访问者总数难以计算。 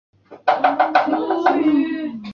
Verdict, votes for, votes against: rejected, 0, 2